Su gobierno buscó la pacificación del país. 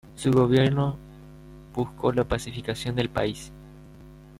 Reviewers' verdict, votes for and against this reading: rejected, 1, 2